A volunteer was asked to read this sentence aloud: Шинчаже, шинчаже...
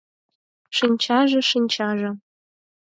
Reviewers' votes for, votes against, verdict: 4, 0, accepted